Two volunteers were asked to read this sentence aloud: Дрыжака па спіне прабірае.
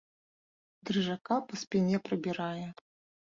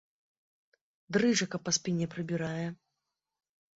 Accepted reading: second